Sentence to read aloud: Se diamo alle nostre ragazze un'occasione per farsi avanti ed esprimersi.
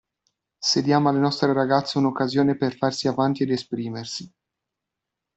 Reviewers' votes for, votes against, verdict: 2, 0, accepted